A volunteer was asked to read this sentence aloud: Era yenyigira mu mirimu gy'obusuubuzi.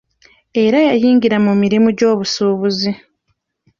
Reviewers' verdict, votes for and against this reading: rejected, 0, 2